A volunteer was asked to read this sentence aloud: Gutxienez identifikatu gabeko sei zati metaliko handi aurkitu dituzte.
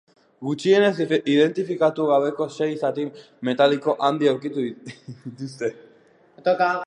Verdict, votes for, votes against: rejected, 0, 2